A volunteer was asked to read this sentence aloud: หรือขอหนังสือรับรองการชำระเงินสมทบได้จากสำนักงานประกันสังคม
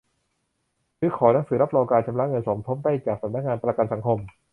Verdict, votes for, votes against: accepted, 2, 0